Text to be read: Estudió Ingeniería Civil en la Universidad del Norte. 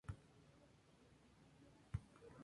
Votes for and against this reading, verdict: 0, 2, rejected